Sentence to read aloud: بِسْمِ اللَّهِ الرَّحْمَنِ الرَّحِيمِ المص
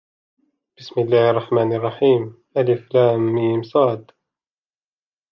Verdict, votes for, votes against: rejected, 0, 2